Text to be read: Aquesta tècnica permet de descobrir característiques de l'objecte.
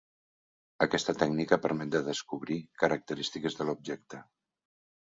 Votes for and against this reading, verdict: 3, 0, accepted